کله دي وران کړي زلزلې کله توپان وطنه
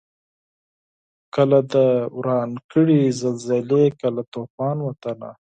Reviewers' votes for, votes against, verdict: 4, 2, accepted